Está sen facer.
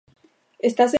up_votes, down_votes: 1, 2